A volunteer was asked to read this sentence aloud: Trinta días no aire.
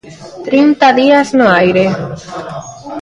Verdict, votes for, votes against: accepted, 2, 0